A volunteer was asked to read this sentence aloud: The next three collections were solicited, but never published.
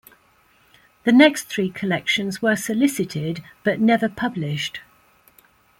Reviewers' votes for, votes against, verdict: 2, 0, accepted